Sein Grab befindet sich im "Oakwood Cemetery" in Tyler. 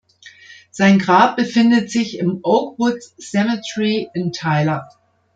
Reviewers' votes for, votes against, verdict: 3, 0, accepted